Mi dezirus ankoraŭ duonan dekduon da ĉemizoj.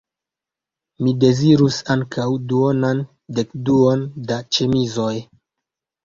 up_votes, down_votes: 2, 0